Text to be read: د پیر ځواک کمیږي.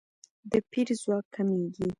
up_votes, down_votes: 2, 0